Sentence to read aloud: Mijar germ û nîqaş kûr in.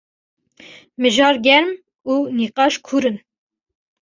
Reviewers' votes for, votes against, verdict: 2, 1, accepted